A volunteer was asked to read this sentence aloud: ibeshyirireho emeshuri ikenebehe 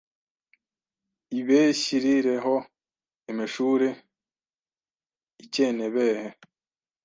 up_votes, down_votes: 1, 2